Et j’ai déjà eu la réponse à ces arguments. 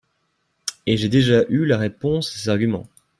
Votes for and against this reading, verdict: 0, 2, rejected